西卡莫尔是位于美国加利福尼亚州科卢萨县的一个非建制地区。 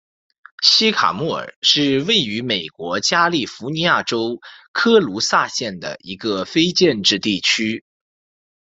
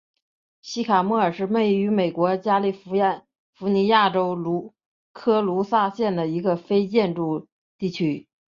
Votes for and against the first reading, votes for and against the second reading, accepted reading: 2, 0, 0, 2, first